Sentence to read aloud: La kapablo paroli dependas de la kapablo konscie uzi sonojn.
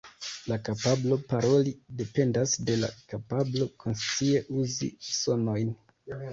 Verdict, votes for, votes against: accepted, 2, 1